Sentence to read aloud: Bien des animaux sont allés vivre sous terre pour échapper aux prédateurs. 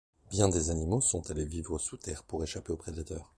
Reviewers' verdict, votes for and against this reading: accepted, 2, 0